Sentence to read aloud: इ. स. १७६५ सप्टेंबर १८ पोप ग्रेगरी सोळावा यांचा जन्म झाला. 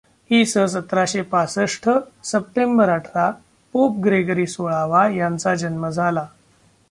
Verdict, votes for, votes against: rejected, 0, 2